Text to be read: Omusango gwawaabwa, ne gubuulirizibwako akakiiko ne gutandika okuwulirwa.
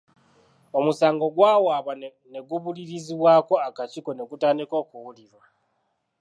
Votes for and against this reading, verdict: 2, 0, accepted